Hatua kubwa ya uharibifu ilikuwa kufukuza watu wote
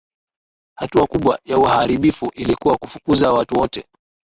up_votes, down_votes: 1, 2